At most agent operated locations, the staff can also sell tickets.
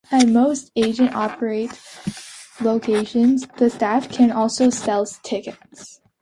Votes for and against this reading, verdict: 0, 2, rejected